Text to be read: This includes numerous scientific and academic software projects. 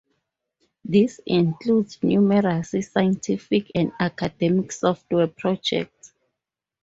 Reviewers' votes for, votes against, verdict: 4, 0, accepted